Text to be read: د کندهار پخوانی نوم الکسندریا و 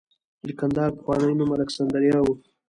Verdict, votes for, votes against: accepted, 2, 0